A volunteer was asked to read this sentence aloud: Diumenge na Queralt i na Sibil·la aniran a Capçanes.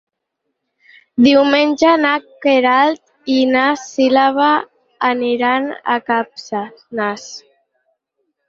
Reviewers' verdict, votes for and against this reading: rejected, 2, 4